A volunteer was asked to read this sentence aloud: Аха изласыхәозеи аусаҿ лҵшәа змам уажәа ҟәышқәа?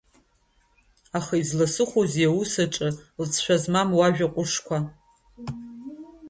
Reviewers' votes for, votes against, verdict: 2, 1, accepted